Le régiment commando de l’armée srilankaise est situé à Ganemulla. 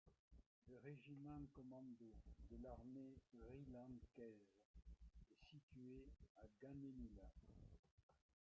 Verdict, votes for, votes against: rejected, 1, 2